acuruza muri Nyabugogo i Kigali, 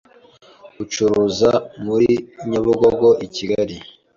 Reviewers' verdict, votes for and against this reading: rejected, 0, 2